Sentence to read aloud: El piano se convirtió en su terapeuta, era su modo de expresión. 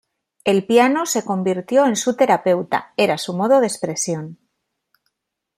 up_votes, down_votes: 2, 0